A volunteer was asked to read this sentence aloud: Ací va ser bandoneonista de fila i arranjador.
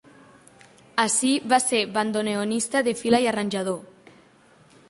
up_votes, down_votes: 2, 0